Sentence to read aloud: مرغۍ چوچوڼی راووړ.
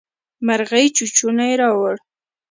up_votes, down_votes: 2, 0